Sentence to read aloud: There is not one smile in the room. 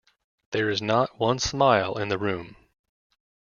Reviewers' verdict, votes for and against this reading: accepted, 2, 0